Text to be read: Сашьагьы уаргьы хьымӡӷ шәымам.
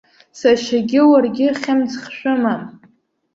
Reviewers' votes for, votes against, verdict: 2, 0, accepted